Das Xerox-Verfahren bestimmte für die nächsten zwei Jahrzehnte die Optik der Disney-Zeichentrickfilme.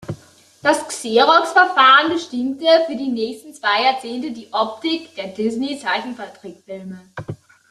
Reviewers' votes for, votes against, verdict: 1, 2, rejected